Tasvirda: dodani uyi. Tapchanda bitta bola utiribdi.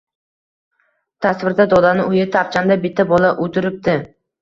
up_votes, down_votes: 2, 0